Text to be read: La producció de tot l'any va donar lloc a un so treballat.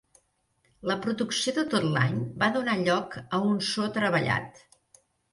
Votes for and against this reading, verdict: 4, 0, accepted